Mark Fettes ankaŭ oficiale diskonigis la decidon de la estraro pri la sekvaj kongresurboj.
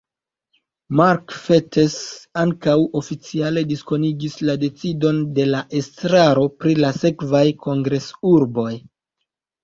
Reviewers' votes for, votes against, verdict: 1, 2, rejected